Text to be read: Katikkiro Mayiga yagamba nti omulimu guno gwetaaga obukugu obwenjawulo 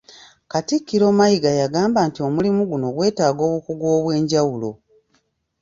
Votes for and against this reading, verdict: 2, 0, accepted